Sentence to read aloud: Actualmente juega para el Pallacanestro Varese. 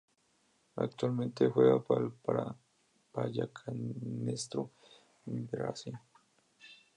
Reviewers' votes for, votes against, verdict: 0, 2, rejected